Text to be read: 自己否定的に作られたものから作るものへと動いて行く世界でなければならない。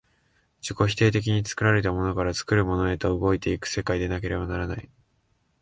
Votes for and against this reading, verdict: 2, 0, accepted